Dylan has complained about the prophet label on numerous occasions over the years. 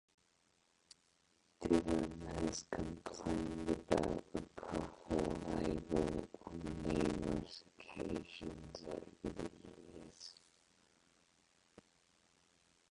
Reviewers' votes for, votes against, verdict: 0, 4, rejected